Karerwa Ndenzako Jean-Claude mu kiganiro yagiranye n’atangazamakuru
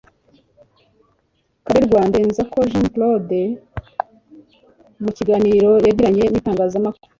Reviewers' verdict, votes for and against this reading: rejected, 1, 2